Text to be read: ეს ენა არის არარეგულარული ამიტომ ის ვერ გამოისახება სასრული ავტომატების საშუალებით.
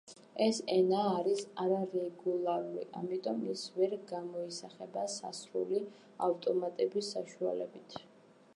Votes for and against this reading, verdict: 0, 2, rejected